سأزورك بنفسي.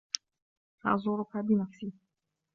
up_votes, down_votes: 0, 2